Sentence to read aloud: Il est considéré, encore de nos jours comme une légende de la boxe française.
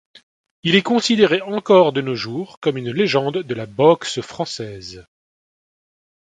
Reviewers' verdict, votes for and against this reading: accepted, 2, 0